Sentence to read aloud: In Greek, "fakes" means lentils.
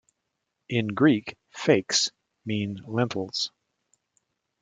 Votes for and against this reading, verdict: 2, 3, rejected